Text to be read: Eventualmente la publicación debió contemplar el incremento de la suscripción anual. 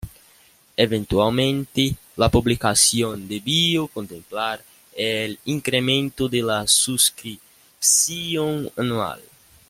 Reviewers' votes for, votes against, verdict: 0, 2, rejected